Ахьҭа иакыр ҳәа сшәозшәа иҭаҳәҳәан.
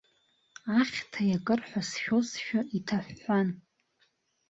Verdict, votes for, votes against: accepted, 2, 1